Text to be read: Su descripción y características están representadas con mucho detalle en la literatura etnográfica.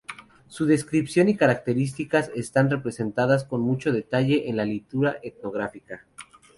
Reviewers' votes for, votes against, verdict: 0, 4, rejected